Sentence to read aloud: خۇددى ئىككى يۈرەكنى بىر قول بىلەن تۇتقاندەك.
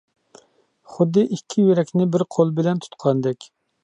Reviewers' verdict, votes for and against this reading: accepted, 2, 0